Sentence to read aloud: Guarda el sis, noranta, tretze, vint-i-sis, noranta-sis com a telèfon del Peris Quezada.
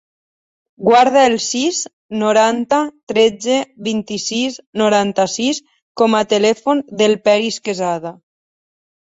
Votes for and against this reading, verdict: 4, 0, accepted